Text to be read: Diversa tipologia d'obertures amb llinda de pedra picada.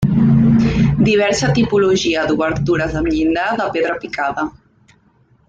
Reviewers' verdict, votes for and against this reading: rejected, 1, 2